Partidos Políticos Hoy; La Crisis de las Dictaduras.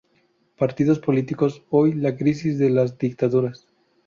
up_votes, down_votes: 0, 2